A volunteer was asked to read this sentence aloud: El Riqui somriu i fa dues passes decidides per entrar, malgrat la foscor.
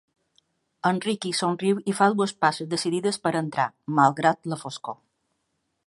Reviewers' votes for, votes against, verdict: 3, 0, accepted